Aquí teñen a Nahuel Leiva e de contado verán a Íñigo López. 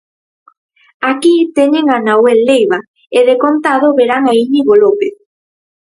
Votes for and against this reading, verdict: 4, 0, accepted